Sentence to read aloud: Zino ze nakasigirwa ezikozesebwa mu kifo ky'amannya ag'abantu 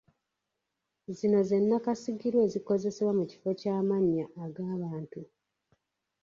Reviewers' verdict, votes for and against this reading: accepted, 2, 1